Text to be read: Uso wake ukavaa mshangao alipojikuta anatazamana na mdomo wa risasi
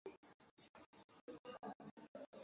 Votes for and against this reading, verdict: 0, 2, rejected